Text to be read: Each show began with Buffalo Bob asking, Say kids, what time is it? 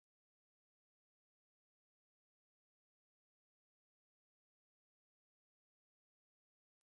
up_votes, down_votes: 0, 3